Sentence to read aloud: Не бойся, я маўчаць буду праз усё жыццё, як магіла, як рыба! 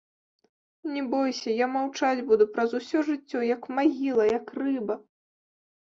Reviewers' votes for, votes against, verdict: 2, 0, accepted